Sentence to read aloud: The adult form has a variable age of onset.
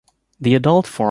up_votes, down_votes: 1, 2